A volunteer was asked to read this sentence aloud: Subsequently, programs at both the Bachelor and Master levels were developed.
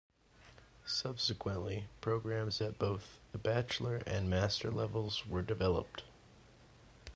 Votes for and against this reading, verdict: 2, 0, accepted